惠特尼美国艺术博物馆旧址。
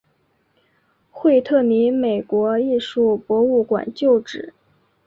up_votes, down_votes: 4, 0